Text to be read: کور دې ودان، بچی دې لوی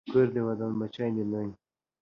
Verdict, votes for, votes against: accepted, 2, 0